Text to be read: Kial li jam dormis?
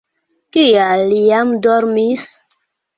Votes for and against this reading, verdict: 2, 0, accepted